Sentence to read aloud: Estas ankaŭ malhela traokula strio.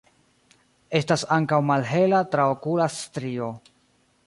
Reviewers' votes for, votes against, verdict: 1, 2, rejected